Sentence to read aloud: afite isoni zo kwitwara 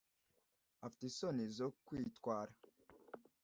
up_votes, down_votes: 2, 0